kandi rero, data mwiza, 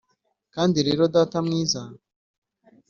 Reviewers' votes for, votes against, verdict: 2, 0, accepted